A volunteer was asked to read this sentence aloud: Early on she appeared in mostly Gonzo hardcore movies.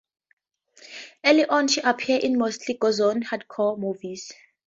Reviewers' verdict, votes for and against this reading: rejected, 0, 4